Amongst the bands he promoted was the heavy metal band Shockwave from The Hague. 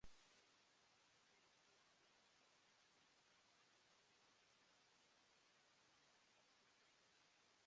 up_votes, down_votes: 0, 2